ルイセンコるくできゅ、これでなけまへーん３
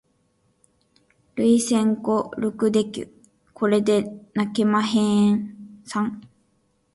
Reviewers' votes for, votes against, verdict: 0, 2, rejected